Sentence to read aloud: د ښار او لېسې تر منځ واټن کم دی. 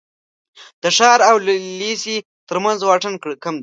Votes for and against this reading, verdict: 0, 2, rejected